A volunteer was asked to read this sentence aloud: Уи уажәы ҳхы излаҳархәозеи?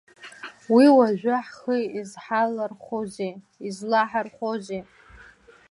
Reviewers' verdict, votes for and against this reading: rejected, 0, 2